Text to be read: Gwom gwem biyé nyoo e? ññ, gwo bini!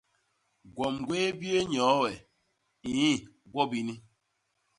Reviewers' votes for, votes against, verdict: 1, 2, rejected